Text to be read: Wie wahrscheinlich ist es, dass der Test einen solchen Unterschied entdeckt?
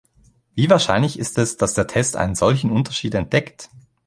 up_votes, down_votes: 2, 0